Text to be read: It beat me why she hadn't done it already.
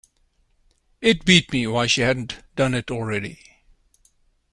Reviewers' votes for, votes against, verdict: 2, 0, accepted